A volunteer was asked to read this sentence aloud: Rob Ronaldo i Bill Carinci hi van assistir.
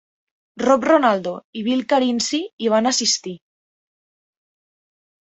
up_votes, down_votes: 2, 0